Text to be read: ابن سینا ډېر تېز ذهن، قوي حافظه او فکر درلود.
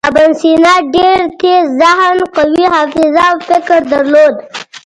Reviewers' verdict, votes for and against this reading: rejected, 1, 2